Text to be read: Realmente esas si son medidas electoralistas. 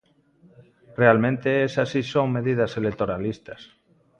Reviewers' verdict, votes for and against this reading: accepted, 2, 0